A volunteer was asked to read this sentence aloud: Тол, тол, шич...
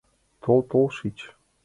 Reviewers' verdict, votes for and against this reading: accepted, 2, 0